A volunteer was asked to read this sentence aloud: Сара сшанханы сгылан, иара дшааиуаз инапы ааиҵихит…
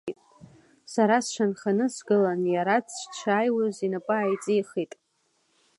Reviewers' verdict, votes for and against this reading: accepted, 2, 0